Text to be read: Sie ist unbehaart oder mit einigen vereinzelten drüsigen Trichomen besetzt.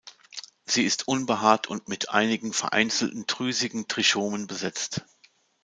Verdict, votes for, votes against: rejected, 0, 2